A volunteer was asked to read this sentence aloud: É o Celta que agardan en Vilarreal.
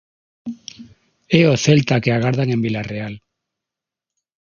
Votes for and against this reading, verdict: 6, 0, accepted